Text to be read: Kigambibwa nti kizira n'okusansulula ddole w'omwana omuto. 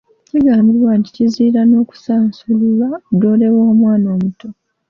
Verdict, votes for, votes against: accepted, 2, 0